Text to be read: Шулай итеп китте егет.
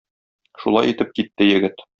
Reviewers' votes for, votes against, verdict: 2, 0, accepted